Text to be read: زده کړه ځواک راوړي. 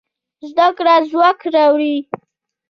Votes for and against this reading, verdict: 2, 0, accepted